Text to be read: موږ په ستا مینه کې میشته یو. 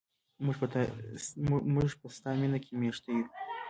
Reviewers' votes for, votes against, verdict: 2, 0, accepted